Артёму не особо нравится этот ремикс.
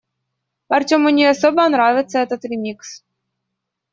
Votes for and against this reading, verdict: 2, 0, accepted